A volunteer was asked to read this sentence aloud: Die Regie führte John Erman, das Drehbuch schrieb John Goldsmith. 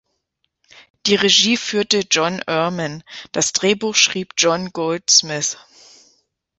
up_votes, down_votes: 2, 0